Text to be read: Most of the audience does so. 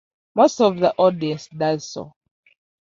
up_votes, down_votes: 1, 2